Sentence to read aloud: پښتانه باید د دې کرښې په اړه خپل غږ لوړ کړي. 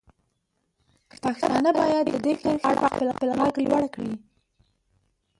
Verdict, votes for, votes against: accepted, 2, 1